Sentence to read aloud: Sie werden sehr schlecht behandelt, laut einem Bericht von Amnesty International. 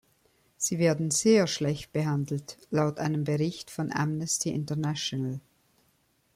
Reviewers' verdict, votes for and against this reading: accepted, 2, 0